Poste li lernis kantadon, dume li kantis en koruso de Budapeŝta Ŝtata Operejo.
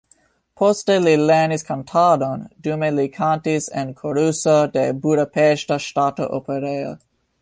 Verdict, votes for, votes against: accepted, 3, 0